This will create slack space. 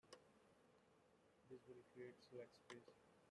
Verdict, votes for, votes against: rejected, 0, 2